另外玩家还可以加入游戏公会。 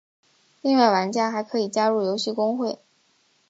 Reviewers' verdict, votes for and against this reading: accepted, 3, 0